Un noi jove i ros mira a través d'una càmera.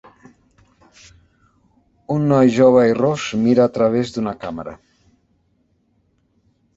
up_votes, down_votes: 3, 0